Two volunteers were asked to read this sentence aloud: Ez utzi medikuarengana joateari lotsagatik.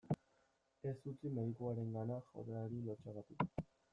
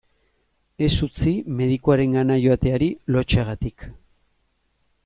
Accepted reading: second